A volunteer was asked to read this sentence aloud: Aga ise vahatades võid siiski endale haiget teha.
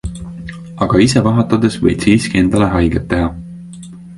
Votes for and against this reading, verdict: 2, 0, accepted